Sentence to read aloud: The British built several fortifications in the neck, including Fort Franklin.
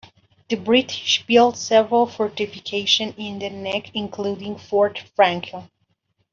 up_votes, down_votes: 2, 0